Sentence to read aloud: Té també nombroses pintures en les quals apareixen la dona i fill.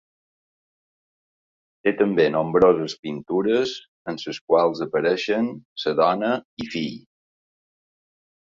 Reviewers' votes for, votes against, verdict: 0, 2, rejected